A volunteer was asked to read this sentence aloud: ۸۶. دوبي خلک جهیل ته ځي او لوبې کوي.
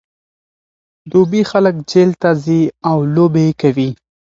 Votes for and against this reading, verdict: 0, 2, rejected